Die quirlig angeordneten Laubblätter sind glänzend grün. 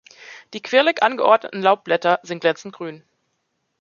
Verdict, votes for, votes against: accepted, 2, 0